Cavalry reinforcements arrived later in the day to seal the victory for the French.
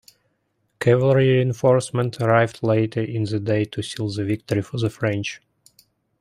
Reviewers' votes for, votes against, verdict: 1, 2, rejected